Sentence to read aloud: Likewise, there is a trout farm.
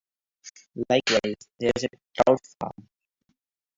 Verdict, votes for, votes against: rejected, 0, 2